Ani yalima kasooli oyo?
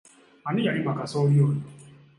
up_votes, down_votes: 2, 0